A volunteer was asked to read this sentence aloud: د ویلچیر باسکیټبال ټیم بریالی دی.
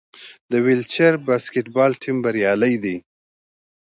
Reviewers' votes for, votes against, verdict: 2, 0, accepted